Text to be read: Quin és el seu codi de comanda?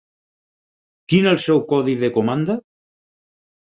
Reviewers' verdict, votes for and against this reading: rejected, 0, 4